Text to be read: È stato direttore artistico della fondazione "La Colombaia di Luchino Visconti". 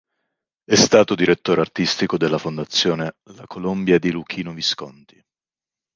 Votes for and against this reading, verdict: 0, 2, rejected